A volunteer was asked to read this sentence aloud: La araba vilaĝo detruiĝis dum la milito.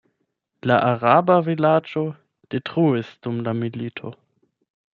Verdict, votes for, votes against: rejected, 4, 8